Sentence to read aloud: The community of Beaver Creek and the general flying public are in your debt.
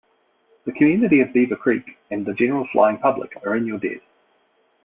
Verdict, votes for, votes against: rejected, 1, 2